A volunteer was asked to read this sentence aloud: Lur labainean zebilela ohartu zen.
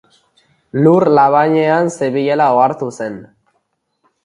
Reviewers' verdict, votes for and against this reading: accepted, 2, 0